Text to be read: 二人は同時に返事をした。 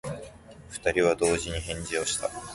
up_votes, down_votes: 3, 0